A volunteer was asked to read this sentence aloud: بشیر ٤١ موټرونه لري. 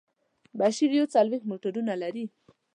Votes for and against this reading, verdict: 0, 2, rejected